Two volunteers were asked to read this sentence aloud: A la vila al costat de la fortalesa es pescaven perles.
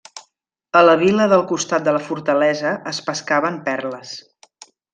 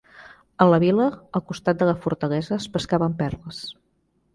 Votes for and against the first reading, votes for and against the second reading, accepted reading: 1, 2, 3, 0, second